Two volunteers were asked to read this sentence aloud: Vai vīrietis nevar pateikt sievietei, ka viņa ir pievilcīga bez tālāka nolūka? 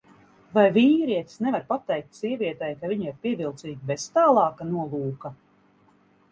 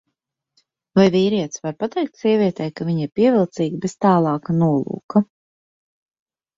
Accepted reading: first